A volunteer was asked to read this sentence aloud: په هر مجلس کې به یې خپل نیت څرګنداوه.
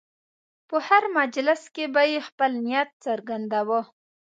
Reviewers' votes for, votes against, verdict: 2, 0, accepted